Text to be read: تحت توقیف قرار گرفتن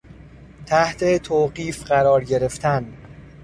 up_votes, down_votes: 2, 0